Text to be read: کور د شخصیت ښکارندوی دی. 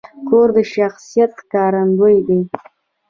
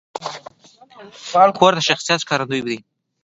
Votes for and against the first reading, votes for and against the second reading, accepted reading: 2, 0, 1, 2, first